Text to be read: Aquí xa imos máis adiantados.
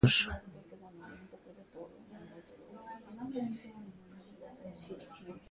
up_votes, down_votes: 0, 2